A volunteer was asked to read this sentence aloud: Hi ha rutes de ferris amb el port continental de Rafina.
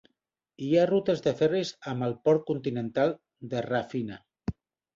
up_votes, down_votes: 3, 0